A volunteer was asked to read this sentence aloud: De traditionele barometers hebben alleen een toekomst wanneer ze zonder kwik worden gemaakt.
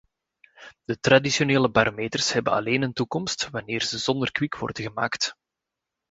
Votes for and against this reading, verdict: 2, 0, accepted